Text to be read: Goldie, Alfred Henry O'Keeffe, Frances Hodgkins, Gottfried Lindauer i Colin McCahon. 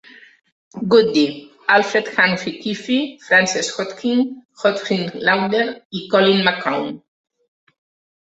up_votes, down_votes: 0, 3